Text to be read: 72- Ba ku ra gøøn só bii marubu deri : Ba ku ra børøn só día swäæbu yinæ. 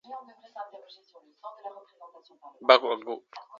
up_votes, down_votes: 0, 2